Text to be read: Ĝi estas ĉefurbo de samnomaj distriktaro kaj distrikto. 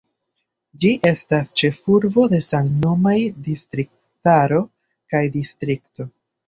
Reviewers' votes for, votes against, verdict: 2, 0, accepted